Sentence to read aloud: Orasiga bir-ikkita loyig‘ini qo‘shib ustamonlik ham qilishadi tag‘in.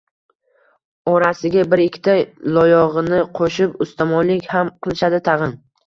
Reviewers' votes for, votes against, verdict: 2, 0, accepted